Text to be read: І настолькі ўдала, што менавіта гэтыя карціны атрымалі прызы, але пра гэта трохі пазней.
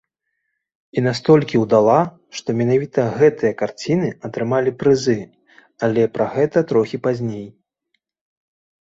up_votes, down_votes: 0, 2